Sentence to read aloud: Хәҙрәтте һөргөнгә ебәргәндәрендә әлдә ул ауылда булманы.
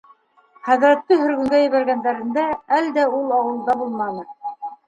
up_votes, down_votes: 2, 0